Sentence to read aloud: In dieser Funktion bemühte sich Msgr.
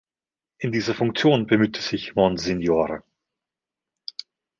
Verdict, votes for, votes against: accepted, 2, 1